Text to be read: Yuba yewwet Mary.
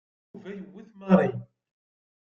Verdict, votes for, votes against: rejected, 1, 2